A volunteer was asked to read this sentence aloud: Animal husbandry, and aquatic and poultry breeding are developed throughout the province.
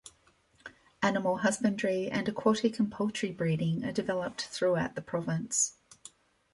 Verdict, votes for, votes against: accepted, 2, 0